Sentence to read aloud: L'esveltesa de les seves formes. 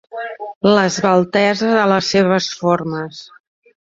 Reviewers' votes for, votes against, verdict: 2, 1, accepted